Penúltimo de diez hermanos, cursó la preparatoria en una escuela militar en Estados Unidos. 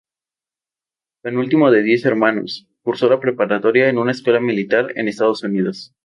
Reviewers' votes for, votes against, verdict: 2, 0, accepted